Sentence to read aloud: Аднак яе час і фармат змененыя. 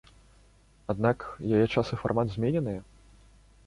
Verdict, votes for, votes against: accepted, 2, 0